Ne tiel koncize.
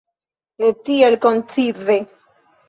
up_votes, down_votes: 1, 2